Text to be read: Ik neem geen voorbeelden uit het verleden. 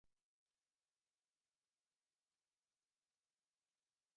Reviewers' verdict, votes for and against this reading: rejected, 1, 2